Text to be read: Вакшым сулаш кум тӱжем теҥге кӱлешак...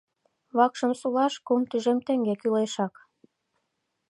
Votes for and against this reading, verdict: 2, 0, accepted